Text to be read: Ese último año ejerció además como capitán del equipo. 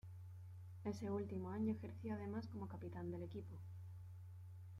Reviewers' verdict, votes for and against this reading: accepted, 2, 1